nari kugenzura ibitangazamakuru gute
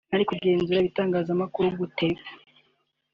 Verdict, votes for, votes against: accepted, 2, 0